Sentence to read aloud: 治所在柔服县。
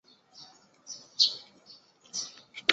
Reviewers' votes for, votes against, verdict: 3, 4, rejected